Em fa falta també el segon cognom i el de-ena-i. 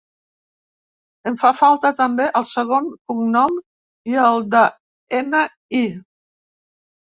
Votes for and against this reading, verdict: 0, 2, rejected